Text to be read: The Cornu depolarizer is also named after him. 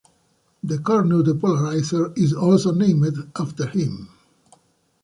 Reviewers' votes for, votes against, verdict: 2, 0, accepted